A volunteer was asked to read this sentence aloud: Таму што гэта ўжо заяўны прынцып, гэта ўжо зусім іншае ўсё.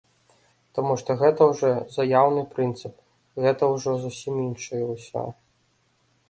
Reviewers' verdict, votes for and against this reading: accepted, 2, 0